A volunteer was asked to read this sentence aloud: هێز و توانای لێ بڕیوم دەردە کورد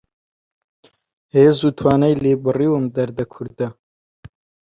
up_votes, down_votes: 0, 2